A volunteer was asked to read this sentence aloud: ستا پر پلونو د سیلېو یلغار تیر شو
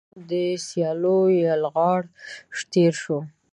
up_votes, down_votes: 0, 2